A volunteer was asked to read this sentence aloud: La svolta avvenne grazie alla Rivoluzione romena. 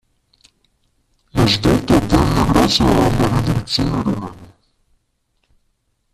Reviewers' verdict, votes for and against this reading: rejected, 0, 2